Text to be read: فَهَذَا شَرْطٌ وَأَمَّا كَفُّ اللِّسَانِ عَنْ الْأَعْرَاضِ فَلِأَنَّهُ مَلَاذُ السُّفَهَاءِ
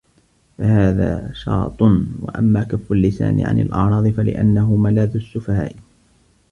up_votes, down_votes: 0, 2